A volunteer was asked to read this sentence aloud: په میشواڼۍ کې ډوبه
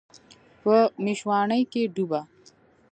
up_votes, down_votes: 0, 2